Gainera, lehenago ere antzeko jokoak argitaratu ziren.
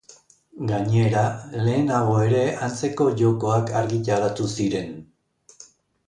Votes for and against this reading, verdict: 3, 0, accepted